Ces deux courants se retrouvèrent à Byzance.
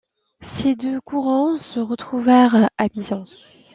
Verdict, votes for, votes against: rejected, 1, 2